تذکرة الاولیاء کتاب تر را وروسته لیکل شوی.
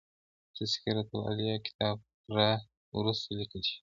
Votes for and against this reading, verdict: 0, 2, rejected